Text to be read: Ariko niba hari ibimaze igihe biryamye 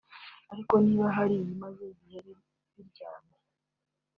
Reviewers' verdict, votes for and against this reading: rejected, 1, 2